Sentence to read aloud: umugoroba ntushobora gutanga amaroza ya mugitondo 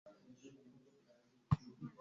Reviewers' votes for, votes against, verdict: 3, 2, accepted